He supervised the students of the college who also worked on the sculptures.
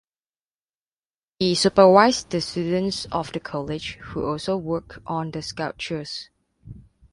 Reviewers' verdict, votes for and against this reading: rejected, 0, 2